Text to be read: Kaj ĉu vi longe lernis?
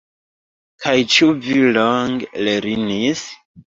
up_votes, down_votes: 2, 0